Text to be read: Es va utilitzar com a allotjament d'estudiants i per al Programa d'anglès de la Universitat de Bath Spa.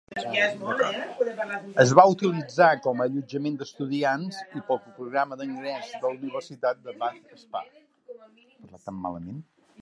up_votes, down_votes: 1, 2